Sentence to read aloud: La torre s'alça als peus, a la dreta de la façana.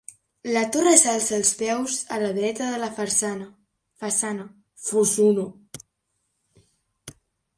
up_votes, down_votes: 0, 3